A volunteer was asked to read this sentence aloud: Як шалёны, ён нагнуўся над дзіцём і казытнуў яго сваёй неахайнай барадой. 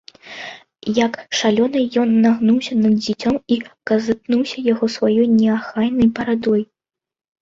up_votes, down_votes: 0, 2